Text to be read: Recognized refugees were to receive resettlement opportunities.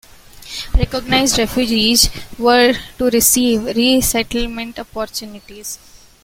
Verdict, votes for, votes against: accepted, 2, 0